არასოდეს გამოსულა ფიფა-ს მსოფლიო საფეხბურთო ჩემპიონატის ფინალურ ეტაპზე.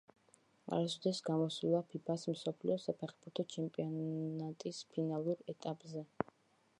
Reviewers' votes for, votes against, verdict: 2, 0, accepted